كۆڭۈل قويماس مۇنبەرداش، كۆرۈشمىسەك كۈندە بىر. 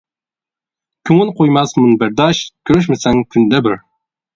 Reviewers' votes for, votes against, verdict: 1, 2, rejected